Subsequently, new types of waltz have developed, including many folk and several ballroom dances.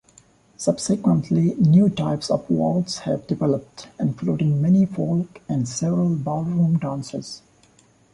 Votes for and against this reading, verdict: 2, 0, accepted